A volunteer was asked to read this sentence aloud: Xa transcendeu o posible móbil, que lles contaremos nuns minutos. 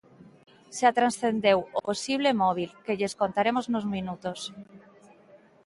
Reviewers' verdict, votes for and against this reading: accepted, 2, 1